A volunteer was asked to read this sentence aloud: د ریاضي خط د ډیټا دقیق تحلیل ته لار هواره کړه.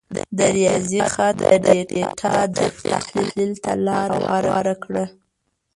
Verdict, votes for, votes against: rejected, 0, 2